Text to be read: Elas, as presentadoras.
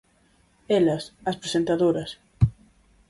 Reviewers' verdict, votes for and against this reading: accepted, 4, 0